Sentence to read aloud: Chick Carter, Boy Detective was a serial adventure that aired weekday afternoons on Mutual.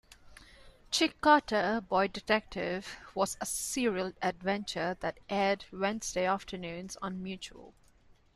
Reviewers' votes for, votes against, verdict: 0, 2, rejected